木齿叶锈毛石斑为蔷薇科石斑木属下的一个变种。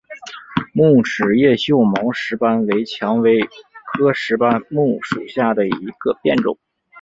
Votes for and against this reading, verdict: 2, 0, accepted